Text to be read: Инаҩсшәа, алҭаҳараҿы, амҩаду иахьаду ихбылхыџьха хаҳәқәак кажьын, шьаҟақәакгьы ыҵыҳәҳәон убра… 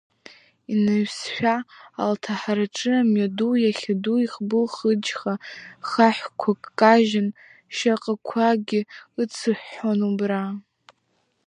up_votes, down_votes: 0, 2